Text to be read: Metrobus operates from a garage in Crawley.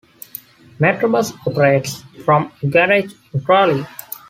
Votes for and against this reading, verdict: 2, 0, accepted